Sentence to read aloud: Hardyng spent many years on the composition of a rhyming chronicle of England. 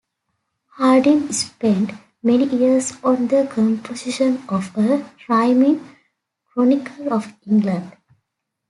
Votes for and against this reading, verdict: 2, 0, accepted